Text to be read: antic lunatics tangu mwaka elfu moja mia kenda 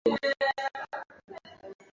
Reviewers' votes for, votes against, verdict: 0, 2, rejected